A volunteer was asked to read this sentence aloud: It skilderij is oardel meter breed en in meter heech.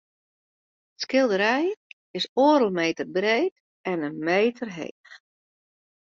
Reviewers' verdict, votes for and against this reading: rejected, 1, 2